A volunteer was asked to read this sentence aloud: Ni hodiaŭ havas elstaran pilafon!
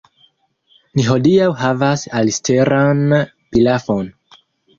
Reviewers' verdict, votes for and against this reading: rejected, 1, 2